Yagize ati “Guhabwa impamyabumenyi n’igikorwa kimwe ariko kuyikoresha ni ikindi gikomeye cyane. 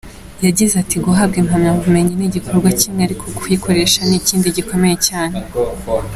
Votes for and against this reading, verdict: 2, 0, accepted